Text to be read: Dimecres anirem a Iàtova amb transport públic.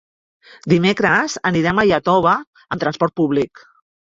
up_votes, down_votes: 0, 2